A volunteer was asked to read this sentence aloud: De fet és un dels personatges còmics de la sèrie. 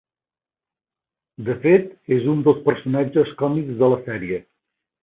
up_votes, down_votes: 2, 0